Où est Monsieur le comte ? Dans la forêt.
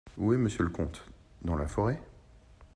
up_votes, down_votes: 1, 2